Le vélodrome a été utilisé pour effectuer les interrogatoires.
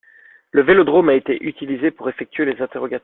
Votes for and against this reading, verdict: 0, 2, rejected